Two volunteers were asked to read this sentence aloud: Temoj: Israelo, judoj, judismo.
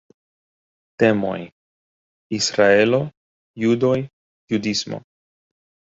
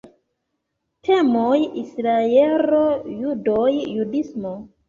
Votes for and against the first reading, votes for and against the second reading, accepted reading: 2, 0, 1, 2, first